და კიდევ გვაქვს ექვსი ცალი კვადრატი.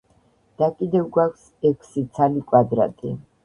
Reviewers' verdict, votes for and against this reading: rejected, 1, 2